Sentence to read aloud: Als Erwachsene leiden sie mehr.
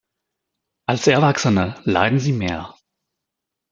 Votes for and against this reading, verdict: 2, 1, accepted